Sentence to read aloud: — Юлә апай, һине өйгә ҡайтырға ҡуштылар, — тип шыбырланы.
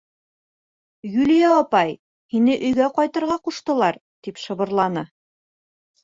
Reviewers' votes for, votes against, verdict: 2, 3, rejected